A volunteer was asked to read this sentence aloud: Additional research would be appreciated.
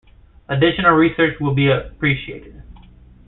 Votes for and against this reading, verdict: 2, 0, accepted